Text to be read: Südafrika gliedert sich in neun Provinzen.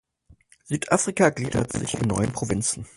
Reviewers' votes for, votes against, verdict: 2, 4, rejected